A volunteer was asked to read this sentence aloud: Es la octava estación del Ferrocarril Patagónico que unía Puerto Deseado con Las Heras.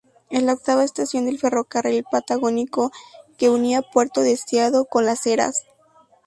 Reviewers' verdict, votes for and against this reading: accepted, 2, 0